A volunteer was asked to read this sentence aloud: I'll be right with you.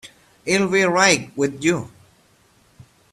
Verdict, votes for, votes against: rejected, 1, 2